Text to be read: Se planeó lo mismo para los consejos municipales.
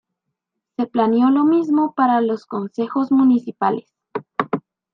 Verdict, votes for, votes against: rejected, 1, 2